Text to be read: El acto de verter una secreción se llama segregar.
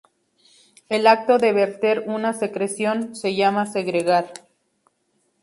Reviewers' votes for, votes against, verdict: 6, 0, accepted